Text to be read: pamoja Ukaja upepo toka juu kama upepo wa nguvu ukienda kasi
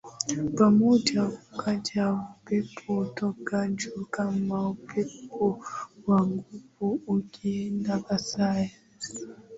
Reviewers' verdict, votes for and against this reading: accepted, 2, 0